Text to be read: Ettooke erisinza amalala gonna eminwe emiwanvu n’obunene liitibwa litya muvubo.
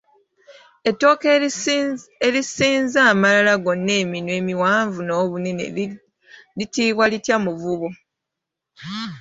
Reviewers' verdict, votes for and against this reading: accepted, 2, 1